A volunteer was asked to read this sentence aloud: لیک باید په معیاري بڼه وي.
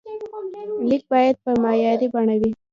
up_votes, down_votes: 1, 2